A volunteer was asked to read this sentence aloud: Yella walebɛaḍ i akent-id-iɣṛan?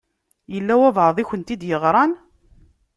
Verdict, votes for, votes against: accepted, 2, 0